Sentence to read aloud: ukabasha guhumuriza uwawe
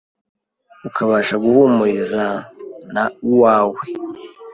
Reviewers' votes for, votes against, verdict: 1, 2, rejected